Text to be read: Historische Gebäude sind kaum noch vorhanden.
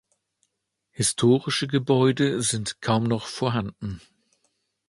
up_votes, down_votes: 2, 0